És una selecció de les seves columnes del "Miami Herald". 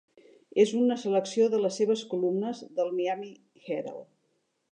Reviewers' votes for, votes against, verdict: 3, 0, accepted